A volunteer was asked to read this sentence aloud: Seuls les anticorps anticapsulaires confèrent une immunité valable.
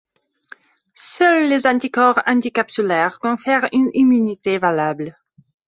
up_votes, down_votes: 2, 0